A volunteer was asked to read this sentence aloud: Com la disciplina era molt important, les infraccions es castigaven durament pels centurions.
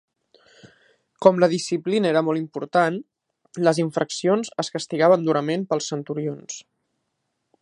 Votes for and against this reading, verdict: 2, 0, accepted